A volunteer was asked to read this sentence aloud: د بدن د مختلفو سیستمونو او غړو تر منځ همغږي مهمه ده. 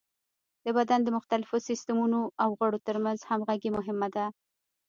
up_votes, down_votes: 1, 2